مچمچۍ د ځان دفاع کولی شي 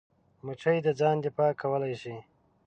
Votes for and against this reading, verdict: 0, 2, rejected